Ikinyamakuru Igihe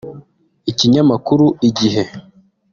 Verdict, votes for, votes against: accepted, 2, 0